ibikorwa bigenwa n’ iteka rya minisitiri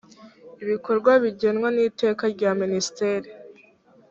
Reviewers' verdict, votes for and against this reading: rejected, 0, 2